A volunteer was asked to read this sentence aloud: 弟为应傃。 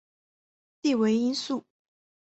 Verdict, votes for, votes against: accepted, 2, 0